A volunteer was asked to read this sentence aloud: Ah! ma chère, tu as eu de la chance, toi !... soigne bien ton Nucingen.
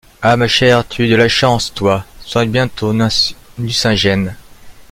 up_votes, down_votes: 0, 2